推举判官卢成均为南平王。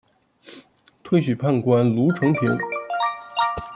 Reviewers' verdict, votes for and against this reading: rejected, 0, 2